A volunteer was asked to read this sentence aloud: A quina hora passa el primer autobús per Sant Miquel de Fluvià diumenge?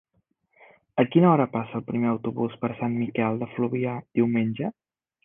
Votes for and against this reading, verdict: 3, 0, accepted